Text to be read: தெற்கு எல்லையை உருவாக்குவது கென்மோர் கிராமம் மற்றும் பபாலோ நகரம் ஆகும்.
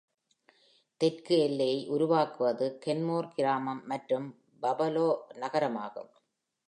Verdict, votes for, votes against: accepted, 2, 0